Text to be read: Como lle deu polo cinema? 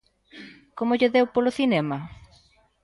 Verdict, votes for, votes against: accepted, 2, 0